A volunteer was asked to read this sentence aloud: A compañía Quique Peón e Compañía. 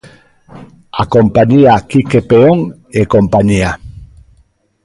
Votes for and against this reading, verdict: 3, 0, accepted